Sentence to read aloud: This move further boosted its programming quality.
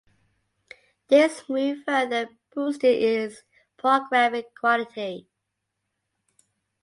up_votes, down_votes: 2, 0